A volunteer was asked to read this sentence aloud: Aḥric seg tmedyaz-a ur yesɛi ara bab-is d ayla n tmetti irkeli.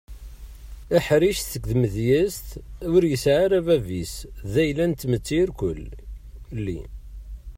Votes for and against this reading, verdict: 1, 2, rejected